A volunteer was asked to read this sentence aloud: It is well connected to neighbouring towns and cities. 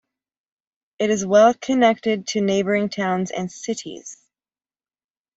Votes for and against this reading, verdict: 2, 0, accepted